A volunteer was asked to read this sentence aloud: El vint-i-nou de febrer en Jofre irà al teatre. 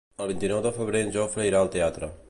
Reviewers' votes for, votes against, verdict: 3, 0, accepted